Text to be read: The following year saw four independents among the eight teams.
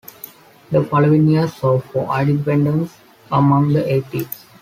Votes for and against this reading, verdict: 0, 2, rejected